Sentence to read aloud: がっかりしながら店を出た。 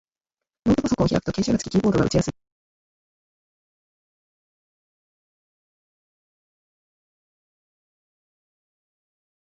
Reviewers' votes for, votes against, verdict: 0, 4, rejected